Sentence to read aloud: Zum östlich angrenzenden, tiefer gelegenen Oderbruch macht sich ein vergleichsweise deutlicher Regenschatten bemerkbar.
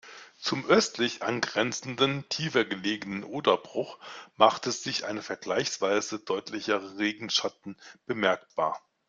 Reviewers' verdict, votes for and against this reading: rejected, 0, 2